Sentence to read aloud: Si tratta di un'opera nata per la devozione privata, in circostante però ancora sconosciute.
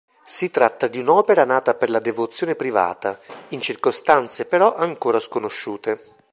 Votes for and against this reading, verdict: 0, 2, rejected